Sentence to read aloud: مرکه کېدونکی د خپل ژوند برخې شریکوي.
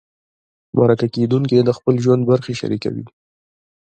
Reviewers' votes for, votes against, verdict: 0, 2, rejected